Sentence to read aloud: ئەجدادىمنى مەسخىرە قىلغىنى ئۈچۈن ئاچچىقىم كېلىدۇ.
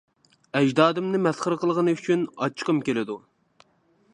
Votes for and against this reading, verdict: 2, 0, accepted